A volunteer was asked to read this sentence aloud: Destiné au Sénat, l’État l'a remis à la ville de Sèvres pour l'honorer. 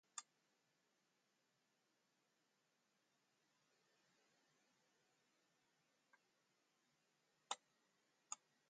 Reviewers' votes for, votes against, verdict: 0, 2, rejected